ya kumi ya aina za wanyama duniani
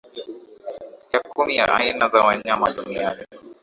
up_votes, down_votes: 1, 3